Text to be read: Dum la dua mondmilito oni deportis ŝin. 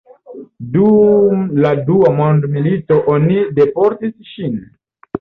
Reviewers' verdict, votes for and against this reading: accepted, 2, 0